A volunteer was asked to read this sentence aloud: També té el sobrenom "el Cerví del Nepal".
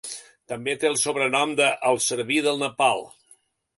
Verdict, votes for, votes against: rejected, 1, 2